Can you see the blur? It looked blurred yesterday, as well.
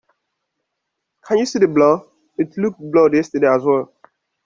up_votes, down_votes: 2, 0